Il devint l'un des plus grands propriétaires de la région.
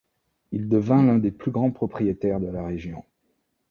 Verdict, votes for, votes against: accepted, 2, 0